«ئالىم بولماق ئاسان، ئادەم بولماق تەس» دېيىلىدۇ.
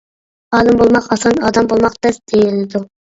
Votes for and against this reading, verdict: 2, 0, accepted